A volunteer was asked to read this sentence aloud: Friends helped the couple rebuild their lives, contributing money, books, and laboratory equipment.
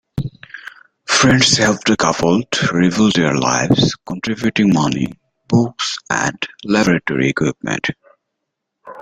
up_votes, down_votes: 2, 0